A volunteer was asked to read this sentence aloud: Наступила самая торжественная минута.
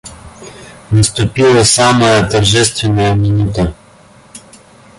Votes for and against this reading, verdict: 1, 2, rejected